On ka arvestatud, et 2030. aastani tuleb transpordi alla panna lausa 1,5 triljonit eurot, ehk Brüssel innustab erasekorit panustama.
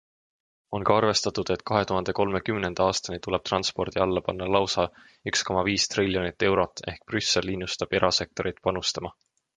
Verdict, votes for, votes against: rejected, 0, 2